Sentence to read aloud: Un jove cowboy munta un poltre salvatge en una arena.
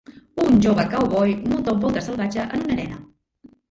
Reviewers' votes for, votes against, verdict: 0, 2, rejected